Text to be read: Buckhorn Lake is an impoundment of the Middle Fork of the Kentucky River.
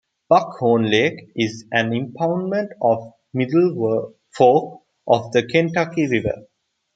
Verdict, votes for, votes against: rejected, 1, 2